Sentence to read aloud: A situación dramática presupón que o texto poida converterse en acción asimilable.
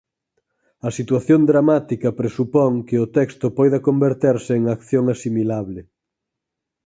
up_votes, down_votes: 4, 0